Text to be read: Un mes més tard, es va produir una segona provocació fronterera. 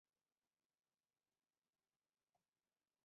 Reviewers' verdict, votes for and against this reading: rejected, 0, 2